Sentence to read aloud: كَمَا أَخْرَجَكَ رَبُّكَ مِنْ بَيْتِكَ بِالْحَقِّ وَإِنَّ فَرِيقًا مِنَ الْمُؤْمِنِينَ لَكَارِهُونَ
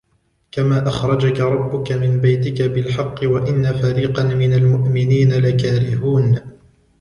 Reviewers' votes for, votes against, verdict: 2, 1, accepted